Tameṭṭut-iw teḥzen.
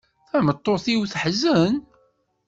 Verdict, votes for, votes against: rejected, 1, 2